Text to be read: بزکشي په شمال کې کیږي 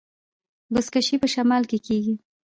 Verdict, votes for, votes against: rejected, 1, 2